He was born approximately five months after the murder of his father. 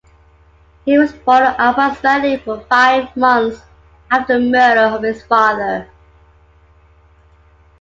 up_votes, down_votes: 2, 1